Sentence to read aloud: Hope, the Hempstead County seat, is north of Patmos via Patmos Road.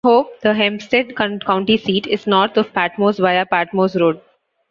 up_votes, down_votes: 2, 1